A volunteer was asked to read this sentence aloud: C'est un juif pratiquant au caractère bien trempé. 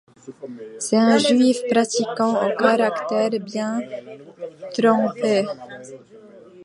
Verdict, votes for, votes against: accepted, 2, 0